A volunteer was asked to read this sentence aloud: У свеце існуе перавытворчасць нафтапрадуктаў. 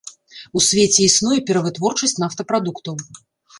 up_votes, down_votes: 2, 0